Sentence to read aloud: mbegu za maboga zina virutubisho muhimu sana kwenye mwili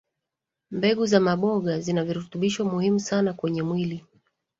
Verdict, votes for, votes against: rejected, 1, 2